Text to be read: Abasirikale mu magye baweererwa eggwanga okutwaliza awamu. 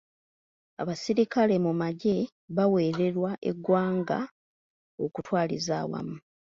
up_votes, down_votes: 3, 0